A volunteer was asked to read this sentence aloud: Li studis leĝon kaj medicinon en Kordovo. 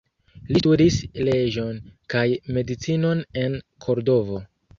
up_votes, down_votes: 0, 2